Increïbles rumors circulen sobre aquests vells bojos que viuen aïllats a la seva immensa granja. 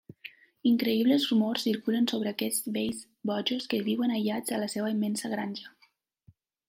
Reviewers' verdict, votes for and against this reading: accepted, 2, 0